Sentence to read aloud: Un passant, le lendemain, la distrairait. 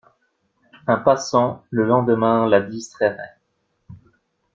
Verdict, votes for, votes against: accepted, 2, 0